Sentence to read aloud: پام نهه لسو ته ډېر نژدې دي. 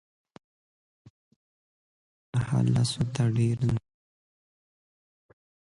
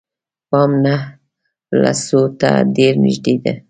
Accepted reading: second